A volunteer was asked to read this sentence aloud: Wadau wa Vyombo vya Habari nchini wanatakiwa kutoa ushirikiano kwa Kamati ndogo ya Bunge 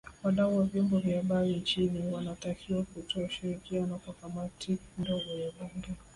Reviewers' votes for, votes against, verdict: 2, 0, accepted